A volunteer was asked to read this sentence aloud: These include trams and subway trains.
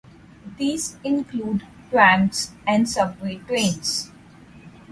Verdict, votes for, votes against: accepted, 4, 0